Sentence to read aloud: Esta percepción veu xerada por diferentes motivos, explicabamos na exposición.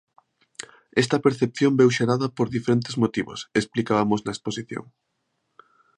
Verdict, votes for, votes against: rejected, 1, 2